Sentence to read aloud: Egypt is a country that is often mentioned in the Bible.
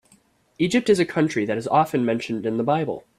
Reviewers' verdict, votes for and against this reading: accepted, 2, 0